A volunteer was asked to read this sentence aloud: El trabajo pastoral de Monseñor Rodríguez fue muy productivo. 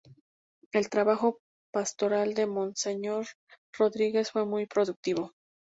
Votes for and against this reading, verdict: 0, 2, rejected